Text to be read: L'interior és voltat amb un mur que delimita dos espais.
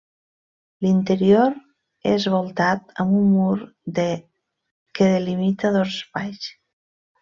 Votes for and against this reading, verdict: 0, 2, rejected